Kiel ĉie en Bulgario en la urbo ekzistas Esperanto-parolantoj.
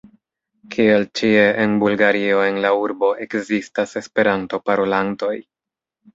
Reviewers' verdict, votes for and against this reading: accepted, 2, 0